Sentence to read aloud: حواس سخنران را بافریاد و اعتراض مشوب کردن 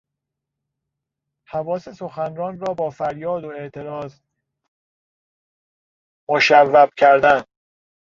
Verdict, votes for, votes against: accepted, 2, 0